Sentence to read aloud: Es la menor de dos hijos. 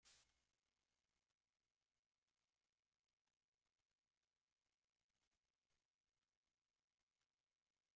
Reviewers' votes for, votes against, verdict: 0, 2, rejected